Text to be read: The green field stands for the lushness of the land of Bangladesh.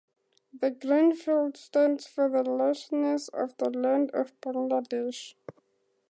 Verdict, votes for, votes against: accepted, 2, 0